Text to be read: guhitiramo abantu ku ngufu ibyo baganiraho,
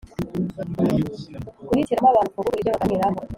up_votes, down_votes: 0, 2